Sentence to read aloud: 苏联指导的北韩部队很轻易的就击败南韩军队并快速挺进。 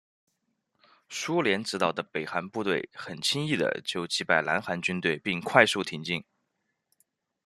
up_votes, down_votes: 0, 2